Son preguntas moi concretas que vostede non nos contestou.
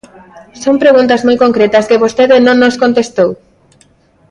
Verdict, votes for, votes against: accepted, 2, 0